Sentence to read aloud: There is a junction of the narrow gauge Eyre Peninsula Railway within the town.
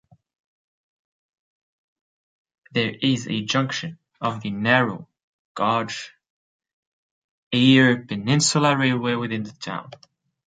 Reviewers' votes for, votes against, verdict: 2, 1, accepted